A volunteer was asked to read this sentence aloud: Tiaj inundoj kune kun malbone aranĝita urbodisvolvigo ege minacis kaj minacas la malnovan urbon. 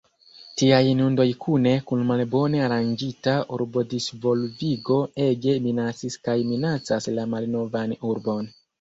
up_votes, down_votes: 0, 2